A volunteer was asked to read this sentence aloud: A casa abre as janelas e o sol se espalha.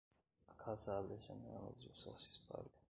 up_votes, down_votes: 1, 2